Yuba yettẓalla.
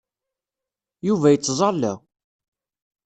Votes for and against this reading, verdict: 2, 0, accepted